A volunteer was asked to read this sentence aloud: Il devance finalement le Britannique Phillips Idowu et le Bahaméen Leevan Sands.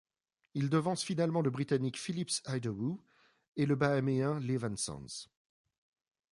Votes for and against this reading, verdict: 3, 0, accepted